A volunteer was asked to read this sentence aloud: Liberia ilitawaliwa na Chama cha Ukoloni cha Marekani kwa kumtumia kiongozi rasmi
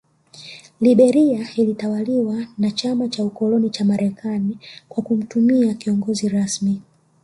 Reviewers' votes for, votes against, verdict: 1, 2, rejected